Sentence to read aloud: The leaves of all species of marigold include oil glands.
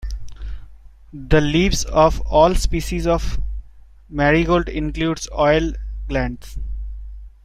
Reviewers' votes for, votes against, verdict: 1, 3, rejected